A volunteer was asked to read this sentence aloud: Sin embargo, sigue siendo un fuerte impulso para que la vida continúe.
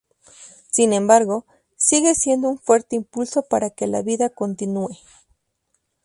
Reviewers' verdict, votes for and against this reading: accepted, 2, 0